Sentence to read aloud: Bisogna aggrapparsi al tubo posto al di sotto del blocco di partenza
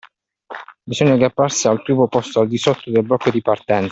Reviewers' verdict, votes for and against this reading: rejected, 1, 2